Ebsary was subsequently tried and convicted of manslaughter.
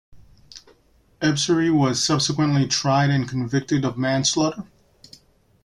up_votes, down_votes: 2, 0